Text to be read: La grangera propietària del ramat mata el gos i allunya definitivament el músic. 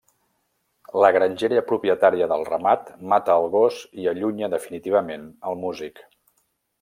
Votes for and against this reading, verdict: 2, 0, accepted